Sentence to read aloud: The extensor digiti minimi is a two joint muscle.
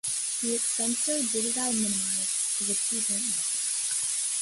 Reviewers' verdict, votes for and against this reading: rejected, 1, 2